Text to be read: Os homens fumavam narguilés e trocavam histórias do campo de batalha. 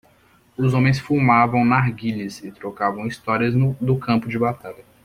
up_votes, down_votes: 1, 2